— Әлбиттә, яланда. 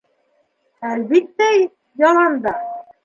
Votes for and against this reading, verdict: 2, 0, accepted